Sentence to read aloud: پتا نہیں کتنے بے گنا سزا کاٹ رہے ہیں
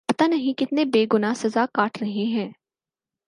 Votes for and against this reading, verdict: 4, 0, accepted